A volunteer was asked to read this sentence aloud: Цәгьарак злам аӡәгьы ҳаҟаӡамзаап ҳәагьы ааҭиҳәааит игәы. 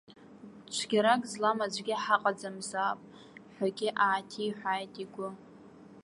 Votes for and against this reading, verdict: 1, 2, rejected